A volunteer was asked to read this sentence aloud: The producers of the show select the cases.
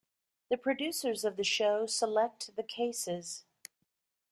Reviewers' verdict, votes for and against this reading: accepted, 2, 0